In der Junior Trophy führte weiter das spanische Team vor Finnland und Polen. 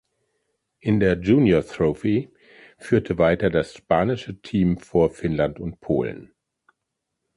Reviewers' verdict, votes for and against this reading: rejected, 1, 2